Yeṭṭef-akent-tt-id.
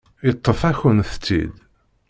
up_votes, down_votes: 2, 0